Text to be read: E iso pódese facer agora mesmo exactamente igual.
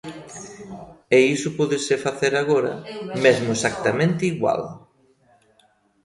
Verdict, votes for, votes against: rejected, 1, 2